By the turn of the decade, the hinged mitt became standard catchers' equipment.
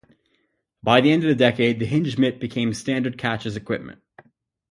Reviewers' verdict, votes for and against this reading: rejected, 0, 2